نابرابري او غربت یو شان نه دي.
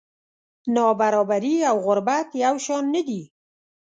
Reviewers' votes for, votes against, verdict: 2, 0, accepted